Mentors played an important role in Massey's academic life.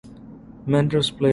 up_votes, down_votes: 0, 3